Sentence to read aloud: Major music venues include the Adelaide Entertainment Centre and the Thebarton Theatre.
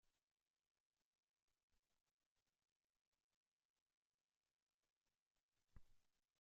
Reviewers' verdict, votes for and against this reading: rejected, 0, 2